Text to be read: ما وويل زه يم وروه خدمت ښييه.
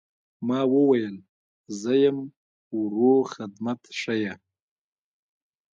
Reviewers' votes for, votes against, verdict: 2, 0, accepted